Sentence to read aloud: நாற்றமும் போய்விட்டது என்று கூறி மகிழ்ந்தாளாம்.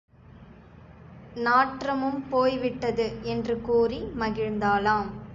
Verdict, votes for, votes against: accepted, 2, 0